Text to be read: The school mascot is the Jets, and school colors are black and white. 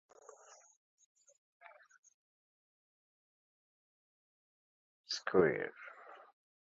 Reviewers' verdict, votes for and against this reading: rejected, 0, 2